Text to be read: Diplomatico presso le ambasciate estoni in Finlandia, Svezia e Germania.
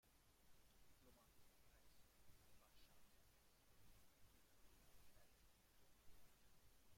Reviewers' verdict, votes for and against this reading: rejected, 0, 2